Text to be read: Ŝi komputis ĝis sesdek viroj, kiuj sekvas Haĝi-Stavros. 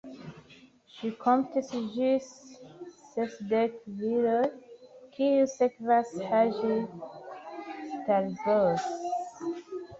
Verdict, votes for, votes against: rejected, 0, 2